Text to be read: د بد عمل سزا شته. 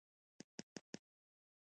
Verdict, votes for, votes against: rejected, 1, 2